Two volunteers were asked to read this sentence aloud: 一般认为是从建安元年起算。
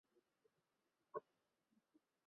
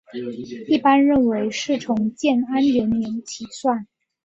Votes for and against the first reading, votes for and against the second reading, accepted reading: 1, 5, 3, 0, second